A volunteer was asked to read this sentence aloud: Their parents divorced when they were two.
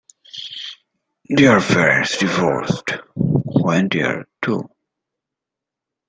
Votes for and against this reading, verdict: 2, 0, accepted